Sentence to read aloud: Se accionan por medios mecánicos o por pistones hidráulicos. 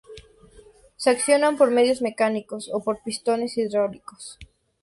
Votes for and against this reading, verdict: 2, 0, accepted